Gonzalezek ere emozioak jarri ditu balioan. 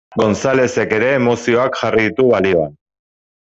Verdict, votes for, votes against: accepted, 2, 0